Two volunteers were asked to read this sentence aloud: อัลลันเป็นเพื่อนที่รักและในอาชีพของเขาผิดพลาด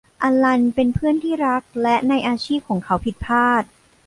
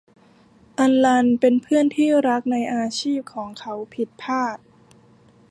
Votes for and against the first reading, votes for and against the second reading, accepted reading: 2, 0, 1, 2, first